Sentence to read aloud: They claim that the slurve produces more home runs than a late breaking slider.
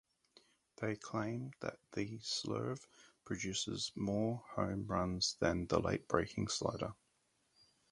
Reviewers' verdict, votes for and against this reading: accepted, 4, 2